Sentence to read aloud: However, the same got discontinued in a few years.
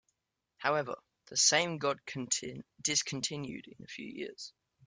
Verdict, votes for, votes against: rejected, 0, 2